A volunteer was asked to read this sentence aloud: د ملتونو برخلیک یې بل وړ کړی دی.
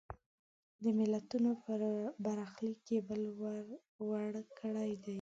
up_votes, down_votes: 1, 2